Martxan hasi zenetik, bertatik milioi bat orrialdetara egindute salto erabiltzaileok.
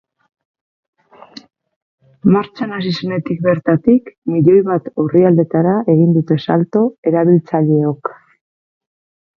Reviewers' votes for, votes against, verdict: 2, 4, rejected